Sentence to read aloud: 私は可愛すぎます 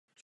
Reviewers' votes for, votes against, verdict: 0, 2, rejected